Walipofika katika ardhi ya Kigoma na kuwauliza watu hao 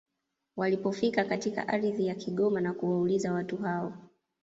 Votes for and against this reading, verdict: 2, 0, accepted